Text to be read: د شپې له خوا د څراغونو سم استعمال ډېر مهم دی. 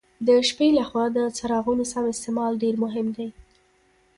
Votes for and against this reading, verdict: 0, 3, rejected